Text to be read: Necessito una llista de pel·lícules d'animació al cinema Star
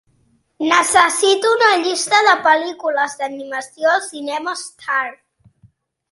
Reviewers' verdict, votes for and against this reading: accepted, 3, 0